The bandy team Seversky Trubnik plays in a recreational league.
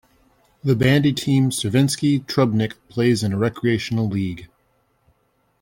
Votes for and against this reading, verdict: 1, 2, rejected